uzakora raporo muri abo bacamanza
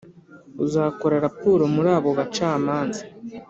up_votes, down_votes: 2, 0